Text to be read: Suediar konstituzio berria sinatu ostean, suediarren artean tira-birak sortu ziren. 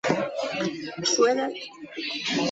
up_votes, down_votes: 0, 2